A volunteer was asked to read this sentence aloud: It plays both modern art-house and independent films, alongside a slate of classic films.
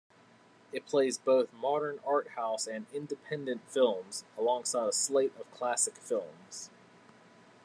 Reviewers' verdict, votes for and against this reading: accepted, 2, 0